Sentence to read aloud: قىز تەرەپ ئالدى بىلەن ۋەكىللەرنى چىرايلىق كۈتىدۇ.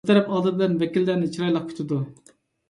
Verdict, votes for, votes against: rejected, 1, 2